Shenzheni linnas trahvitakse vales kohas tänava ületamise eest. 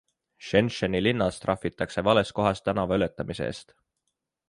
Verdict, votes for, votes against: accepted, 2, 0